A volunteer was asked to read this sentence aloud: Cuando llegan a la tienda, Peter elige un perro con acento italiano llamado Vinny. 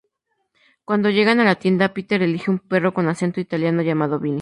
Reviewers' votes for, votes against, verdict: 2, 0, accepted